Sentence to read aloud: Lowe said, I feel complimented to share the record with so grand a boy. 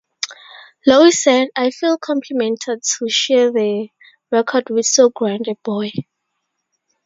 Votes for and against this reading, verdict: 0, 2, rejected